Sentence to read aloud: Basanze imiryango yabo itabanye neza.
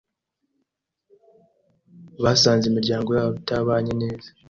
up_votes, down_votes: 2, 0